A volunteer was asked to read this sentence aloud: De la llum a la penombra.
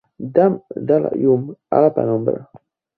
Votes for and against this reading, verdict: 0, 2, rejected